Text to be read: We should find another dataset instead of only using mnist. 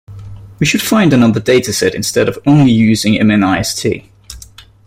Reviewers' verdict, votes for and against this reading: accepted, 2, 1